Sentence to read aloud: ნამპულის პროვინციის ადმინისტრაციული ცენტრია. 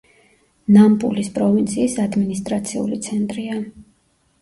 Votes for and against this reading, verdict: 2, 0, accepted